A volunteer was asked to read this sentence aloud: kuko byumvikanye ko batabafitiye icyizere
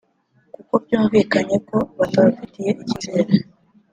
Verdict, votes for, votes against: rejected, 0, 2